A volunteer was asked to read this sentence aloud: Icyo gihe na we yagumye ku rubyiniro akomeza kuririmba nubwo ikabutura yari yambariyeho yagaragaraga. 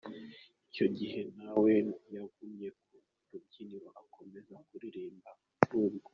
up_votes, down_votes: 0, 2